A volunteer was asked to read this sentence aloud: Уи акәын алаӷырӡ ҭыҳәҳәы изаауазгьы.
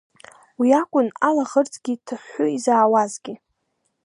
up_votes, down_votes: 2, 0